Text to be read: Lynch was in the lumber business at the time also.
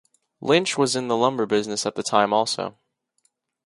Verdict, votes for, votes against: accepted, 2, 0